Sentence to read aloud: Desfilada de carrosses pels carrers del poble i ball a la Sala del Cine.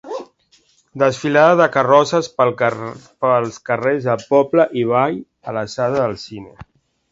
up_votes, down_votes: 1, 2